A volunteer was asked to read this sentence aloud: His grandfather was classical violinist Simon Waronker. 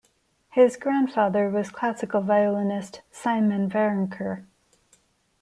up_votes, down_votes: 2, 0